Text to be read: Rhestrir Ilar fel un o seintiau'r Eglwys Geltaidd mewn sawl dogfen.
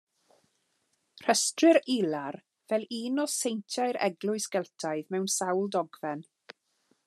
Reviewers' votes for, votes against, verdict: 2, 0, accepted